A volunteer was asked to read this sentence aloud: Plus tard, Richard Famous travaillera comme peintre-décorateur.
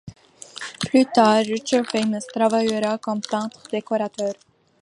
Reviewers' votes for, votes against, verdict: 2, 0, accepted